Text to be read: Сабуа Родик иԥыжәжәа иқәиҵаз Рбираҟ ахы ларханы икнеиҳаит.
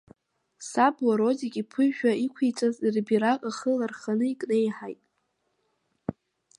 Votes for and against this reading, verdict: 1, 2, rejected